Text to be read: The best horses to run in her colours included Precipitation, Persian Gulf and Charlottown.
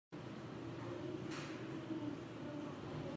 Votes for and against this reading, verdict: 0, 2, rejected